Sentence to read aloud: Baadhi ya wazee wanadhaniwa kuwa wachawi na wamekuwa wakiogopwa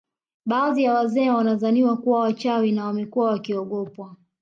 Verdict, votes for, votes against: accepted, 2, 1